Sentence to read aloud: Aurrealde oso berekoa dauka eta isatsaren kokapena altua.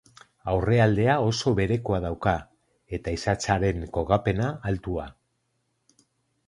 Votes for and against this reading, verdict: 0, 4, rejected